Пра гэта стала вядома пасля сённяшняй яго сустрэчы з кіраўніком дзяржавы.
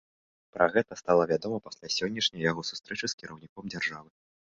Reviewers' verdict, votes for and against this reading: accepted, 2, 0